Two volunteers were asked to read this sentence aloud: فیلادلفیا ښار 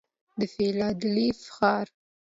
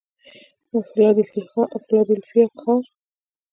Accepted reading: first